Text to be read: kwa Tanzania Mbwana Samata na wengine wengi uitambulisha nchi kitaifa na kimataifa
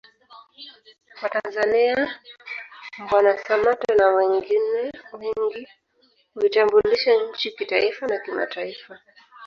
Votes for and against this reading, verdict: 0, 2, rejected